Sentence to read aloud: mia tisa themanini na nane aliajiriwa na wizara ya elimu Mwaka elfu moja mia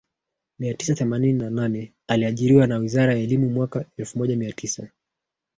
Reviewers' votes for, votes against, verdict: 1, 2, rejected